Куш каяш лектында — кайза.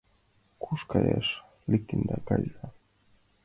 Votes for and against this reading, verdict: 2, 0, accepted